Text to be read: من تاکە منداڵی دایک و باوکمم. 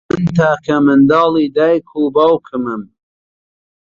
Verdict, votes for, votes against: rejected, 0, 2